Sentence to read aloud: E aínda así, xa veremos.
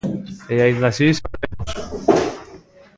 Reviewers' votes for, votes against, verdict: 0, 2, rejected